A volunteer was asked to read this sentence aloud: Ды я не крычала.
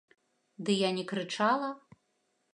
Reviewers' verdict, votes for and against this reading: accepted, 2, 0